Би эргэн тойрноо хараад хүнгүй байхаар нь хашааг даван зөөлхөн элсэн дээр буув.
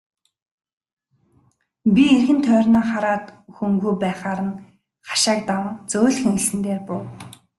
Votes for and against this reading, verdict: 2, 0, accepted